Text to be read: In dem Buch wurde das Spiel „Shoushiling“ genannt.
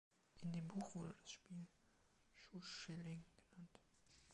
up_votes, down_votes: 1, 2